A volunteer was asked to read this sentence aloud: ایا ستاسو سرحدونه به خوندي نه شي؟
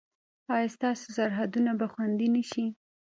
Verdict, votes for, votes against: accepted, 2, 0